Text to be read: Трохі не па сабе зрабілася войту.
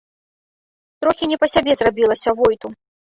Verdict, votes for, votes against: rejected, 0, 2